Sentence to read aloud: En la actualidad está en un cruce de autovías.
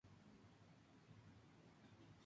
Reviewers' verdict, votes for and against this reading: rejected, 0, 2